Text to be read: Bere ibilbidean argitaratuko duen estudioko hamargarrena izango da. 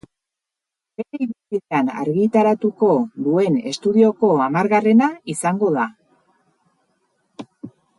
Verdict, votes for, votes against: rejected, 0, 6